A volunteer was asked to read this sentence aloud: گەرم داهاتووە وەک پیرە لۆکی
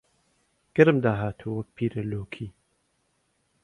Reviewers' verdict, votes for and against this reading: accepted, 2, 0